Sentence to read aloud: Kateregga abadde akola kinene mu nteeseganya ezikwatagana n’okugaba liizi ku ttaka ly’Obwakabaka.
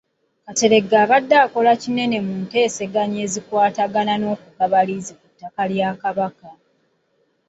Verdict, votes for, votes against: accepted, 3, 2